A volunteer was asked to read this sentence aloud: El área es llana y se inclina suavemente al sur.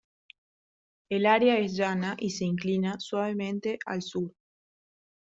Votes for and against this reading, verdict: 2, 0, accepted